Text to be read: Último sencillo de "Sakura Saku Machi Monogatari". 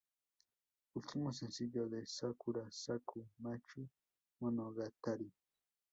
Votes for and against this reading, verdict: 0, 2, rejected